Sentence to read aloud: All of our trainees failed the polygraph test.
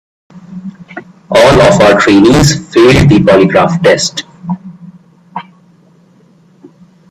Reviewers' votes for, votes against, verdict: 1, 2, rejected